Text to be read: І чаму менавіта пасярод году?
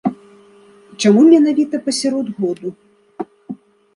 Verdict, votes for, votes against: rejected, 1, 2